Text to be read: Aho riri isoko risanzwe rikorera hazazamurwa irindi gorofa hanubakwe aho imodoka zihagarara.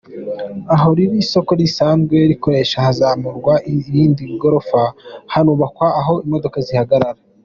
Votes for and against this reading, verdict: 0, 2, rejected